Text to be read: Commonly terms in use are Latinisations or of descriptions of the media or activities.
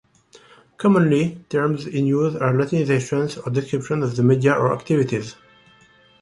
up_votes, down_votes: 2, 0